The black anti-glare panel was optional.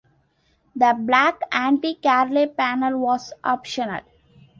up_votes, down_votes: 0, 2